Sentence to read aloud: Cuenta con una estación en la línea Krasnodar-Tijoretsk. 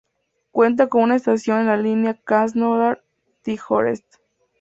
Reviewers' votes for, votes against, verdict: 2, 0, accepted